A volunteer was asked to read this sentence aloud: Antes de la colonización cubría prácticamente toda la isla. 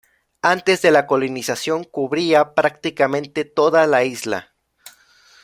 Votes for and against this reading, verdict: 0, 2, rejected